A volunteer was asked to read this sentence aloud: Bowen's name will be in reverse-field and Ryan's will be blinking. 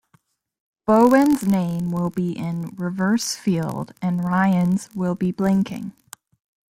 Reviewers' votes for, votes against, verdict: 2, 0, accepted